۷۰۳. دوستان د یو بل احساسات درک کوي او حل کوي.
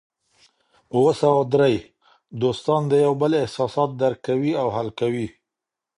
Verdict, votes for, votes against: rejected, 0, 2